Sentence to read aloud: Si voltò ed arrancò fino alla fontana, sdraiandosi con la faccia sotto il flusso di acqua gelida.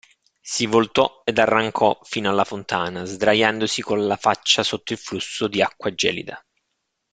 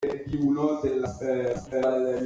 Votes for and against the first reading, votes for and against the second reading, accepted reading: 2, 0, 0, 2, first